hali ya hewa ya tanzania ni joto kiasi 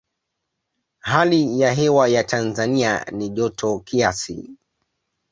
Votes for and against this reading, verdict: 2, 0, accepted